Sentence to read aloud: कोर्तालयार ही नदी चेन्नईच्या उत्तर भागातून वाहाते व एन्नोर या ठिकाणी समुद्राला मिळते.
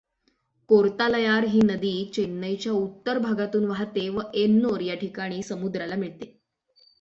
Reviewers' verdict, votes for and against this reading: accepted, 6, 3